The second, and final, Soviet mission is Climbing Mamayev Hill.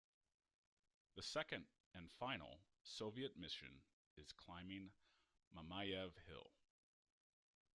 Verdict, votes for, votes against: rejected, 0, 2